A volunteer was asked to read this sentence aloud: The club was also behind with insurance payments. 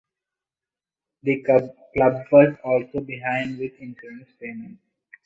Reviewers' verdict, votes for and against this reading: rejected, 0, 2